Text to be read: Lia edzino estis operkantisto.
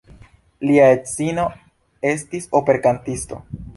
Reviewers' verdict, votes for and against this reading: accepted, 2, 0